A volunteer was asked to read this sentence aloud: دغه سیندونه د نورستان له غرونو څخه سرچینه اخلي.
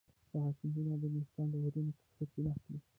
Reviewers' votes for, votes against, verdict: 0, 2, rejected